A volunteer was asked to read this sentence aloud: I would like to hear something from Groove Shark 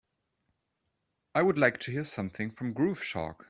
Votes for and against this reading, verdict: 2, 0, accepted